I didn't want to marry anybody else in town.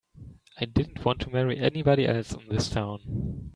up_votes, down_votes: 1, 2